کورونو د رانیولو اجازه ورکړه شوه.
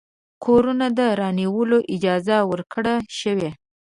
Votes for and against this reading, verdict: 0, 2, rejected